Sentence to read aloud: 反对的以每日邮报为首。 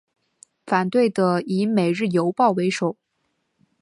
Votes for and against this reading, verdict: 2, 0, accepted